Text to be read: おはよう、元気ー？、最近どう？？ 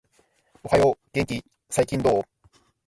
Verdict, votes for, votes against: accepted, 2, 1